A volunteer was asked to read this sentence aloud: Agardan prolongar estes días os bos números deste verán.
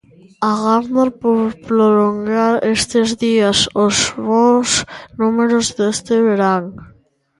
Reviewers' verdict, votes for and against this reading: rejected, 1, 2